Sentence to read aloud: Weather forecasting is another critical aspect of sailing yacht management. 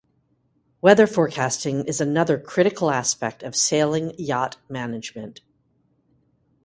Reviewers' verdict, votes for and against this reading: accepted, 2, 0